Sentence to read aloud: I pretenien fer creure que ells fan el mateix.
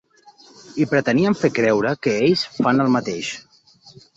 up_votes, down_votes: 3, 0